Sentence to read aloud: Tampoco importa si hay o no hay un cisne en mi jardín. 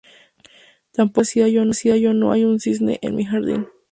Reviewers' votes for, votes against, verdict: 0, 2, rejected